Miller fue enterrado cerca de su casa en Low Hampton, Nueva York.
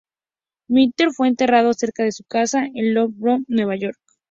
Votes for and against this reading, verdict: 0, 2, rejected